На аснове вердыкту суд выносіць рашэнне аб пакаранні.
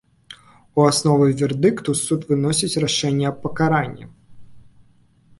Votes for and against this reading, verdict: 0, 2, rejected